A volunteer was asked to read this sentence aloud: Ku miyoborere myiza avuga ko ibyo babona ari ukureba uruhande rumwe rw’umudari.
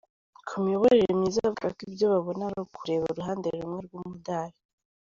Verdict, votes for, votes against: rejected, 1, 2